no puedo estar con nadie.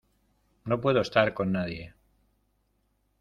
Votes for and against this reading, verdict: 2, 0, accepted